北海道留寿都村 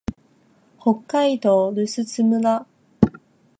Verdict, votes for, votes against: accepted, 2, 0